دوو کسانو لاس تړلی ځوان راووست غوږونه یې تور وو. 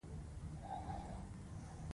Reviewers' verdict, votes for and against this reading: accepted, 2, 0